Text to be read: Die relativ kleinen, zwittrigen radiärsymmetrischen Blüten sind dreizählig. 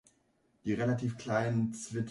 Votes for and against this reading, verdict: 0, 2, rejected